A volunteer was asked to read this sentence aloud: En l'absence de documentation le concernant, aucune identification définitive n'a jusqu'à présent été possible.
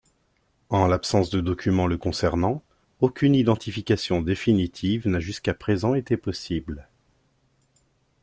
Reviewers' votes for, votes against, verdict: 0, 2, rejected